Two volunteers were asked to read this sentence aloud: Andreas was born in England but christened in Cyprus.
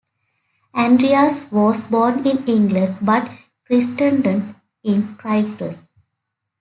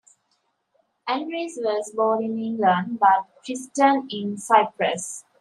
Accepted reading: second